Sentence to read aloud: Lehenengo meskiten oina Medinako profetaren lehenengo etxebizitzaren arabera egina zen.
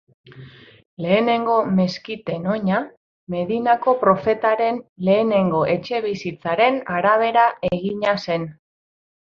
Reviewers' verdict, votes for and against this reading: accepted, 2, 0